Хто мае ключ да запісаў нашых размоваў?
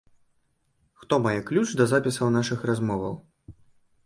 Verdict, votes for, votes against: accepted, 2, 0